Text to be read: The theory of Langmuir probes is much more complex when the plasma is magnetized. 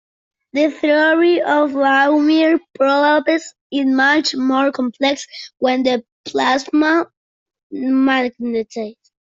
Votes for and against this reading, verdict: 0, 2, rejected